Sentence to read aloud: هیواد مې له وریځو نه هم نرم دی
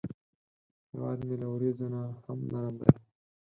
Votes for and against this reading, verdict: 0, 4, rejected